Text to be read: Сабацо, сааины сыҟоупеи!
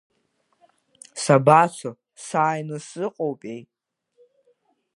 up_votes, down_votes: 2, 0